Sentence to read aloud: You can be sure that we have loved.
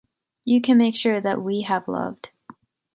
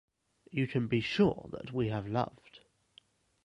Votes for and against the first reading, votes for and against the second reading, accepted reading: 1, 2, 2, 0, second